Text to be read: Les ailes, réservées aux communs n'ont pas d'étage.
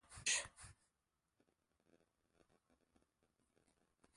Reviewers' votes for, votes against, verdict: 0, 2, rejected